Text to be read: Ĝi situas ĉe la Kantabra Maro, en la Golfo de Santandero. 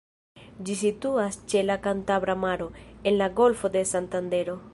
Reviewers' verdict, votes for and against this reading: rejected, 1, 2